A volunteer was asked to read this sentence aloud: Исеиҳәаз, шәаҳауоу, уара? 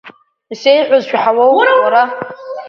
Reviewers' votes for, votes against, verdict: 0, 3, rejected